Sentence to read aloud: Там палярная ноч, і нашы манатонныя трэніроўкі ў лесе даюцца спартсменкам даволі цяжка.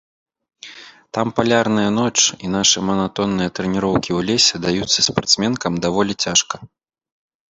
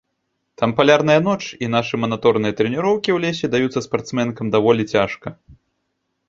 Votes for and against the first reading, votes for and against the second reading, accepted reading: 2, 0, 0, 2, first